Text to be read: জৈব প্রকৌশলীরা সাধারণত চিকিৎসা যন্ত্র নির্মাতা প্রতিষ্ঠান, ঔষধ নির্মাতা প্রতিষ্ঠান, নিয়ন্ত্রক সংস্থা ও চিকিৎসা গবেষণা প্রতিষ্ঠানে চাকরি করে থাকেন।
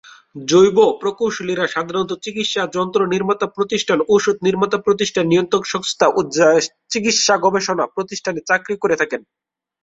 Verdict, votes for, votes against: rejected, 0, 2